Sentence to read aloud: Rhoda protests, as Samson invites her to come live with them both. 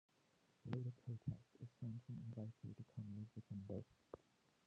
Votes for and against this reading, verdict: 0, 2, rejected